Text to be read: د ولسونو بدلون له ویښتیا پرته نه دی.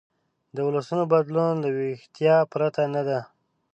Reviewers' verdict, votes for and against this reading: rejected, 1, 2